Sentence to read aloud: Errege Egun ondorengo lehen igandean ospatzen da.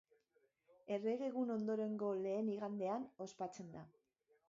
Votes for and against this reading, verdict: 2, 0, accepted